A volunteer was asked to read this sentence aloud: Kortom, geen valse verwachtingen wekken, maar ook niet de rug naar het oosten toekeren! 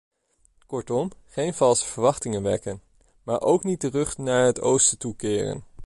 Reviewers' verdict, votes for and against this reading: accepted, 2, 0